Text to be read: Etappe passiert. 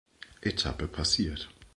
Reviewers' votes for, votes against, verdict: 2, 0, accepted